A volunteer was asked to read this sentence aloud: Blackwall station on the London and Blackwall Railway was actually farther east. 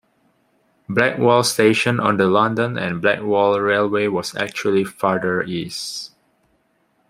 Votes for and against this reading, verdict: 2, 0, accepted